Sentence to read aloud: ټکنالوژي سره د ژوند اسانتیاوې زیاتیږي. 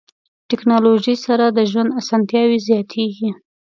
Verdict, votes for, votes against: accepted, 2, 0